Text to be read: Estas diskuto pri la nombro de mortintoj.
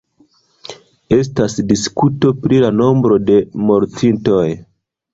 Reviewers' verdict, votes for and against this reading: accepted, 2, 1